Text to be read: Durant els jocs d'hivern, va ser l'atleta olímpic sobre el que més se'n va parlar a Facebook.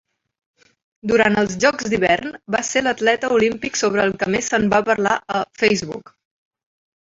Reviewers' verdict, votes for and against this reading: accepted, 2, 0